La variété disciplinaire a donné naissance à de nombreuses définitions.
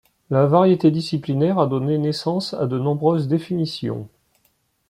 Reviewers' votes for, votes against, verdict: 2, 0, accepted